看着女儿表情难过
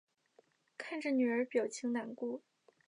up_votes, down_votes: 2, 0